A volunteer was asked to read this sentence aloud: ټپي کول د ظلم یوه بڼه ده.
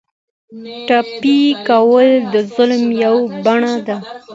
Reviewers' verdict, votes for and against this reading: accepted, 2, 0